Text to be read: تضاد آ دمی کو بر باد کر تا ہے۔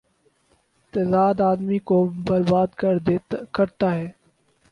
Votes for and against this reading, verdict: 4, 2, accepted